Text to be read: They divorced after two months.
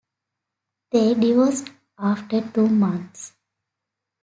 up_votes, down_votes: 2, 0